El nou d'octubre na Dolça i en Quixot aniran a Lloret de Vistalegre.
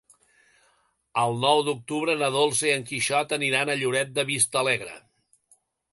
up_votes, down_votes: 2, 0